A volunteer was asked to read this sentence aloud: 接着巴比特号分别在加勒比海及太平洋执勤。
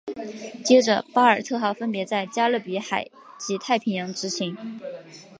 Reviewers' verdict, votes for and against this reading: accepted, 2, 0